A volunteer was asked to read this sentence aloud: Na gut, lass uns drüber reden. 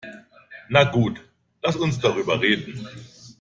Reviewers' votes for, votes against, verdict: 2, 0, accepted